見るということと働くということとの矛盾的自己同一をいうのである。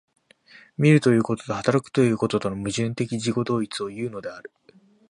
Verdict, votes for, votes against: accepted, 4, 0